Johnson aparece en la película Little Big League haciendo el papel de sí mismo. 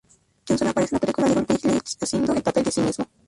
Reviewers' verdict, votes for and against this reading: rejected, 0, 2